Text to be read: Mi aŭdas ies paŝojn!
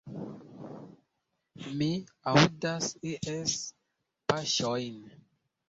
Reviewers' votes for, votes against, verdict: 1, 2, rejected